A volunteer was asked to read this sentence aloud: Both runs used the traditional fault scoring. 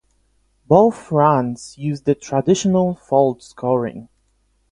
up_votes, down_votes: 8, 0